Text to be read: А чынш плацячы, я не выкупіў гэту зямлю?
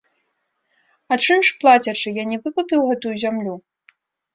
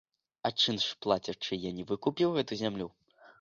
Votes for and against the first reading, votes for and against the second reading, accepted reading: 0, 2, 2, 0, second